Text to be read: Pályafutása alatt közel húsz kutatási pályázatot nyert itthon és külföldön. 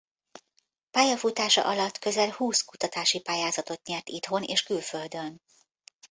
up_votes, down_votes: 2, 0